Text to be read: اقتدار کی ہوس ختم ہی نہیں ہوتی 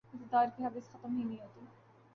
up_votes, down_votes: 2, 0